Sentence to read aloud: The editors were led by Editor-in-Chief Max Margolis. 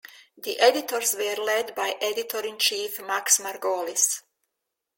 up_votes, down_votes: 2, 0